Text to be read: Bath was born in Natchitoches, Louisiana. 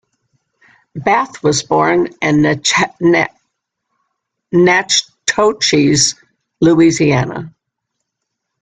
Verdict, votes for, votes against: rejected, 0, 2